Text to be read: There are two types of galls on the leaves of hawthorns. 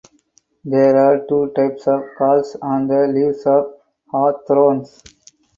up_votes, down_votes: 2, 4